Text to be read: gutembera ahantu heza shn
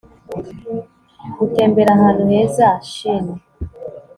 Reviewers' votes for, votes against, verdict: 2, 0, accepted